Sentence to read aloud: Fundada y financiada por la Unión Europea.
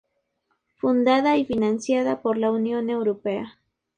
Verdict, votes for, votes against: accepted, 2, 0